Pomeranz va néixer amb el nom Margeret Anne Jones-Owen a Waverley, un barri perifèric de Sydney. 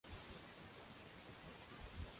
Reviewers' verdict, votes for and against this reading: rejected, 0, 2